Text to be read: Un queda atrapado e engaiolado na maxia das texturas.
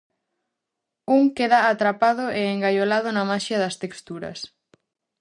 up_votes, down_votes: 4, 0